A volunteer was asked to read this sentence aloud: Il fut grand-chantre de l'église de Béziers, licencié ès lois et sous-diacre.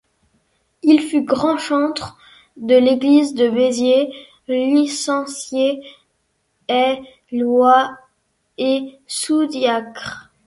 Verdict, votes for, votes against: rejected, 0, 2